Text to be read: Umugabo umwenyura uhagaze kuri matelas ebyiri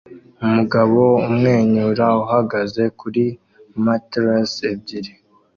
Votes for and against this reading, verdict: 2, 0, accepted